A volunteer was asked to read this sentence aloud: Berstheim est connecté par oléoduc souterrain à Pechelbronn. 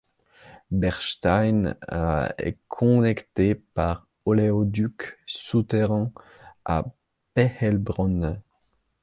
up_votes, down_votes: 0, 2